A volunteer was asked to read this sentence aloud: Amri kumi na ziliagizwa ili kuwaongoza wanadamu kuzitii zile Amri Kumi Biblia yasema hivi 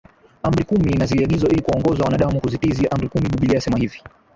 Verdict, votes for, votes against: rejected, 0, 2